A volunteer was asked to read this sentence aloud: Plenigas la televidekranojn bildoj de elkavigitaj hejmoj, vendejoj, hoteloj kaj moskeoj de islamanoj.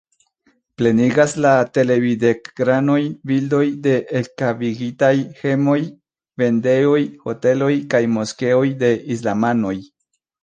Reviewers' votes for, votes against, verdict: 1, 2, rejected